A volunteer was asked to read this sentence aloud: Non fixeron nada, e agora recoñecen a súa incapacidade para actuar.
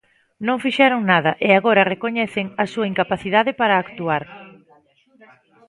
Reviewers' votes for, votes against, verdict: 1, 2, rejected